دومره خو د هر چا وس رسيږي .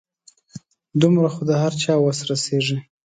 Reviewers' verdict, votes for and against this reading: accepted, 2, 0